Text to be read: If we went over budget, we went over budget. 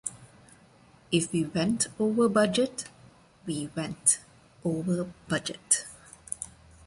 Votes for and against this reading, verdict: 1, 2, rejected